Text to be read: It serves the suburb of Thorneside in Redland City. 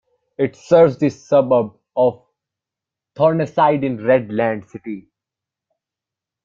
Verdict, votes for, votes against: accepted, 2, 1